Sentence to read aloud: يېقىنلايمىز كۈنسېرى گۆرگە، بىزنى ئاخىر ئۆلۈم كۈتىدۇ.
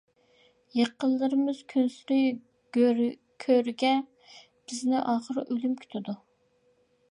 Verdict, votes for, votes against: rejected, 0, 2